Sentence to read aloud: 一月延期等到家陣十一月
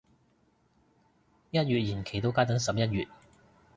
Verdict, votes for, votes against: rejected, 0, 2